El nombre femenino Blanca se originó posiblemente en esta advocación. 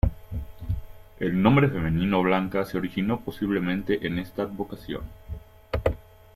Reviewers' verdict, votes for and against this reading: accepted, 2, 0